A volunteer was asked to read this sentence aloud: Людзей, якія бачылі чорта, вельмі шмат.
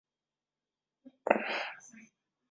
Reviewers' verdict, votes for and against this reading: rejected, 0, 2